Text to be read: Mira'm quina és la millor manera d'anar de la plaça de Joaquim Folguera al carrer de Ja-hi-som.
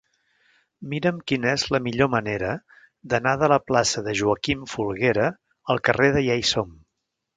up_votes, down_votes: 0, 2